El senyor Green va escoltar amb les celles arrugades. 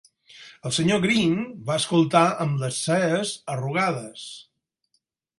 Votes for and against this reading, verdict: 0, 6, rejected